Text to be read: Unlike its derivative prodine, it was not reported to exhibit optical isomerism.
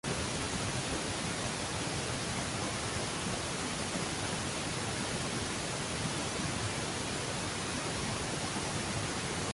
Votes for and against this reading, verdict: 0, 2, rejected